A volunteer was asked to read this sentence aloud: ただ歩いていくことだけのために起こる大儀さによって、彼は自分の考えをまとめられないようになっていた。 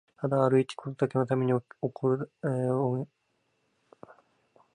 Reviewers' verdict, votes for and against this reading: rejected, 0, 4